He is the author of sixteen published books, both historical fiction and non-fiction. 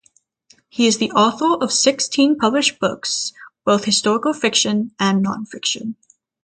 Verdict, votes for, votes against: accepted, 3, 0